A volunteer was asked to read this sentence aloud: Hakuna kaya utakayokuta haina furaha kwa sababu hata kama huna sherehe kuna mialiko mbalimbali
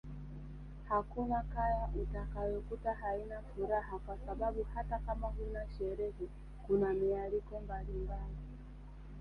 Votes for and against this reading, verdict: 0, 2, rejected